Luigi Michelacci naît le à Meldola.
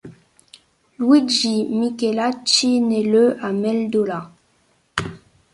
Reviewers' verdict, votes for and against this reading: accepted, 2, 0